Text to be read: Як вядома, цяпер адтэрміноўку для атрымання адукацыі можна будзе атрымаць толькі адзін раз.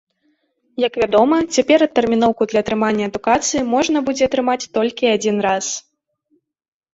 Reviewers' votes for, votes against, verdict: 2, 0, accepted